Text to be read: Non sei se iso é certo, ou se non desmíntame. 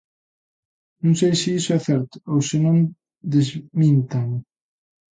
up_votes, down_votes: 0, 2